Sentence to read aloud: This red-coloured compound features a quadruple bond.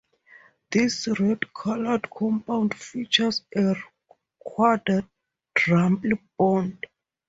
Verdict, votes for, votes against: rejected, 2, 2